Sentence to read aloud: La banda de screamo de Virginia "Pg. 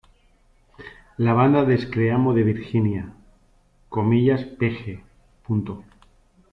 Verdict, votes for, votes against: accepted, 3, 0